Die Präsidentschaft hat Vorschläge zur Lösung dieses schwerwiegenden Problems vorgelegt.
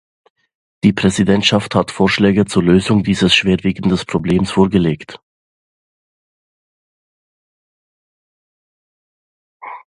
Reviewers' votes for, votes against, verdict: 1, 2, rejected